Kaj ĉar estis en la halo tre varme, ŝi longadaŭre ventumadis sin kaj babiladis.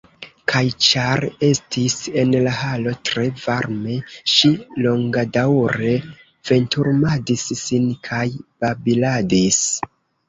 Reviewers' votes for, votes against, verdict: 0, 2, rejected